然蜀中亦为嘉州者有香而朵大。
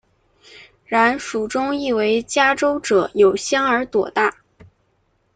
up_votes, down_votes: 2, 0